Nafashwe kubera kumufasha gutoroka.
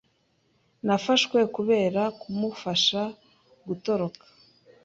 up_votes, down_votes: 2, 0